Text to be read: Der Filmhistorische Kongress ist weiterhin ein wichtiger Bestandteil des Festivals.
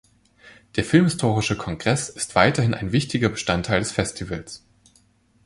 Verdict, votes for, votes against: accepted, 2, 0